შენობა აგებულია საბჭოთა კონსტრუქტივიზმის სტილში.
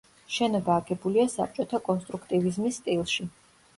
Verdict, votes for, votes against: accepted, 2, 0